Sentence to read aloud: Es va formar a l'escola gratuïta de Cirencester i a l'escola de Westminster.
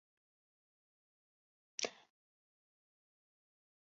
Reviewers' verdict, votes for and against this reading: rejected, 0, 2